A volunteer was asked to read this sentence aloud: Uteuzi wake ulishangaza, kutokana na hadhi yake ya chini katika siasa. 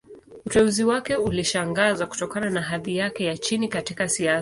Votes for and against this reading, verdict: 0, 2, rejected